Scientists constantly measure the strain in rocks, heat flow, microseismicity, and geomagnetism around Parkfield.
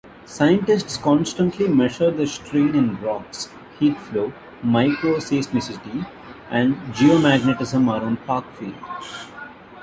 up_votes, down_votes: 2, 0